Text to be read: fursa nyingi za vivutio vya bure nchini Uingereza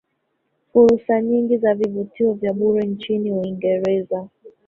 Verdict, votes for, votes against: rejected, 0, 2